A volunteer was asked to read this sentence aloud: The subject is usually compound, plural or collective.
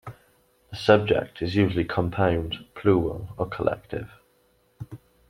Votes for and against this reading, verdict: 1, 2, rejected